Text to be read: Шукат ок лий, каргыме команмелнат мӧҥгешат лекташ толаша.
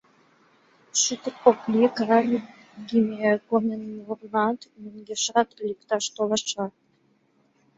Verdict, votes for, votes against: rejected, 0, 2